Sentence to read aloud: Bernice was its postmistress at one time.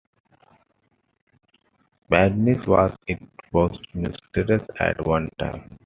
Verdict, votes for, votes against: accepted, 2, 1